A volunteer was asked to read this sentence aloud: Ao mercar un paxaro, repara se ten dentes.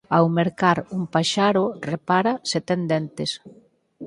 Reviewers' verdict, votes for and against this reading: accepted, 8, 2